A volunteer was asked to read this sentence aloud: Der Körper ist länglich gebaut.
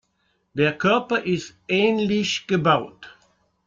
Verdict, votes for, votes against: rejected, 0, 2